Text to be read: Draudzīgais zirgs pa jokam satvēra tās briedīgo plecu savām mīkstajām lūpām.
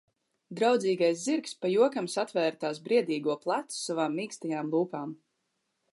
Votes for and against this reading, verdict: 2, 0, accepted